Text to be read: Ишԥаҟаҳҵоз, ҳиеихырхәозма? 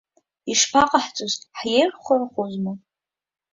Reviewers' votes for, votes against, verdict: 2, 1, accepted